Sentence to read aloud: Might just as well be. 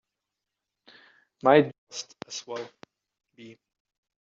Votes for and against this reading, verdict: 0, 2, rejected